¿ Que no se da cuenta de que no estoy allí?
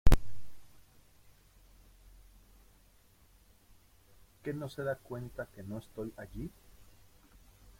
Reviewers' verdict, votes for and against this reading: rejected, 1, 2